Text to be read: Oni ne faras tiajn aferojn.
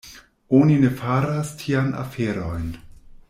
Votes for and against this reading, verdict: 1, 2, rejected